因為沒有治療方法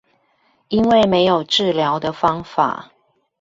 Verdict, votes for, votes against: rejected, 0, 2